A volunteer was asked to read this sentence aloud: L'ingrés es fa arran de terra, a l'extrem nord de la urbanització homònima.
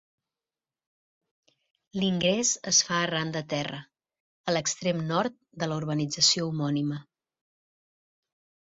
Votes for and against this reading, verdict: 1, 2, rejected